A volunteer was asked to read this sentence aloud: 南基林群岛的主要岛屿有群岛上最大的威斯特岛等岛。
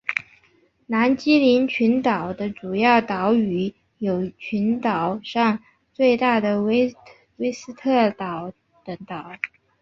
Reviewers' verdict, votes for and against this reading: accepted, 2, 0